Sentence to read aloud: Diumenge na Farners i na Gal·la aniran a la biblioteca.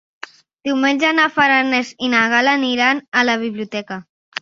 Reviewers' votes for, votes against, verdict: 2, 1, accepted